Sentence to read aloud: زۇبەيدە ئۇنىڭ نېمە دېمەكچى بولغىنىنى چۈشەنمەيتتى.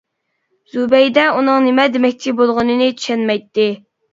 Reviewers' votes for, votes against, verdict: 2, 0, accepted